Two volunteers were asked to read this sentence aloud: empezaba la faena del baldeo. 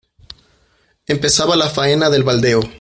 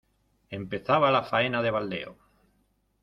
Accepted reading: first